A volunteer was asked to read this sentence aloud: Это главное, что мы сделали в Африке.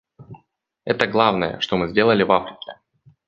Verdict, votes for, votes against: accepted, 2, 0